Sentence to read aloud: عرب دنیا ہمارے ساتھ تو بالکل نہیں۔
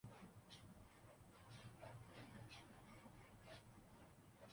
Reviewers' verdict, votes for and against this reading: rejected, 0, 2